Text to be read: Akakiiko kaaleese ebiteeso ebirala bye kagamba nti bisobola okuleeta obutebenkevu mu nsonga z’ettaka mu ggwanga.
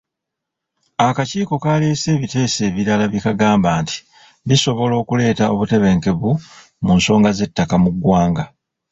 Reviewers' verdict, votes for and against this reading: rejected, 0, 2